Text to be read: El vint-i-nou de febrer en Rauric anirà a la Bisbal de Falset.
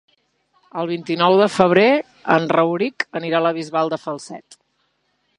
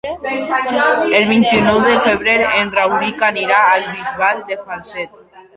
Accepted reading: first